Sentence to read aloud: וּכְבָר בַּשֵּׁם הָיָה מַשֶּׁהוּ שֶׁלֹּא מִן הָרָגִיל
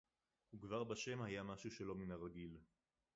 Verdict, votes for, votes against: rejected, 2, 2